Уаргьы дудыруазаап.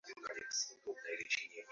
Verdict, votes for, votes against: rejected, 0, 2